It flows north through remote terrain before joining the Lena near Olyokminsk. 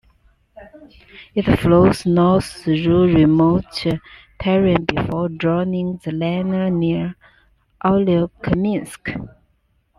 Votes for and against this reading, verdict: 2, 1, accepted